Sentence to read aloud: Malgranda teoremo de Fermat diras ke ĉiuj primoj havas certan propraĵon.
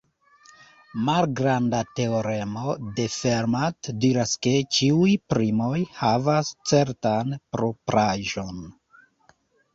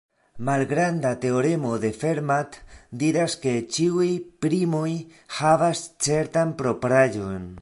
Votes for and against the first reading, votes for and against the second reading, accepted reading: 0, 2, 2, 0, second